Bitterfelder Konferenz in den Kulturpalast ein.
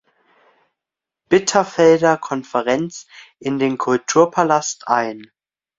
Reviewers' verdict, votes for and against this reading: accepted, 2, 1